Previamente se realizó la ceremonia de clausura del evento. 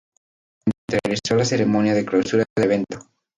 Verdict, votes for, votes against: rejected, 0, 2